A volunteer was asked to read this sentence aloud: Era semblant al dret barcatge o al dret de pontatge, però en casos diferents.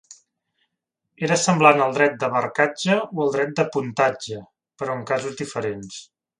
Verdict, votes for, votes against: rejected, 1, 2